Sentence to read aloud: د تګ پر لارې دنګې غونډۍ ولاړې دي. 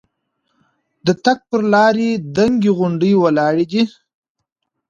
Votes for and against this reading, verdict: 3, 0, accepted